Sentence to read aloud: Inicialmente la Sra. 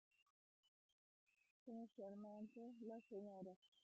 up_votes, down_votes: 0, 2